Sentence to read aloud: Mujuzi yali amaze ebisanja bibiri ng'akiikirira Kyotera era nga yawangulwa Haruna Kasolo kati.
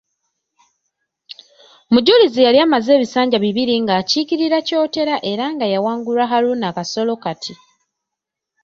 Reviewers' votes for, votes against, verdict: 0, 2, rejected